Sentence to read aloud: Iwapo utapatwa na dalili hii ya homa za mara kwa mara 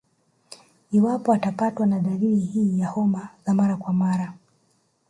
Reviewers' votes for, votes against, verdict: 2, 0, accepted